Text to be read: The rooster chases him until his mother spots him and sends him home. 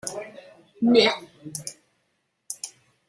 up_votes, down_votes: 0, 2